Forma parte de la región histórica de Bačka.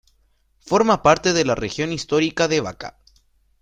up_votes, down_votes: 2, 0